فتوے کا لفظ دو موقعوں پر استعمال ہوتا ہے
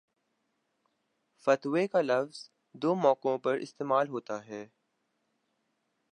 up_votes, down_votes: 2, 0